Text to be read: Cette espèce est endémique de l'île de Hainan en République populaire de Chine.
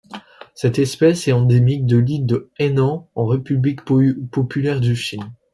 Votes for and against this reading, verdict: 0, 2, rejected